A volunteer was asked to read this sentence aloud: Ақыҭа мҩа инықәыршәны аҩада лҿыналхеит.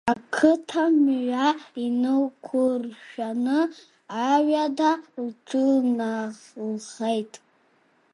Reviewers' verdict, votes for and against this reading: rejected, 0, 2